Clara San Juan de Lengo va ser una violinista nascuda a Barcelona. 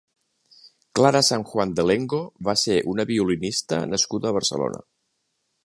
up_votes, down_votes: 4, 0